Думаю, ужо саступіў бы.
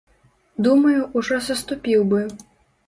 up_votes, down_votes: 2, 0